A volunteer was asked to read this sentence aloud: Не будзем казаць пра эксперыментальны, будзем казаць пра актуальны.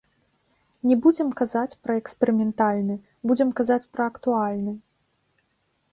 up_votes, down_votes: 2, 1